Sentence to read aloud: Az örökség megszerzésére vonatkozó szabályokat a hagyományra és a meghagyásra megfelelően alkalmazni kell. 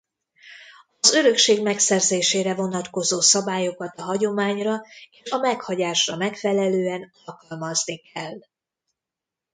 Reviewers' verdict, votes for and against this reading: rejected, 1, 2